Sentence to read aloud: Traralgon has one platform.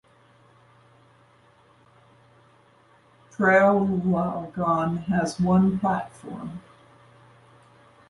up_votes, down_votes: 0, 2